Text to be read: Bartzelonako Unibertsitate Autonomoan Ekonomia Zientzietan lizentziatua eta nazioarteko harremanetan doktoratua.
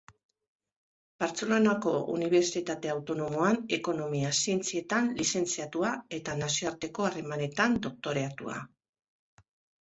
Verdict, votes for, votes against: rejected, 0, 2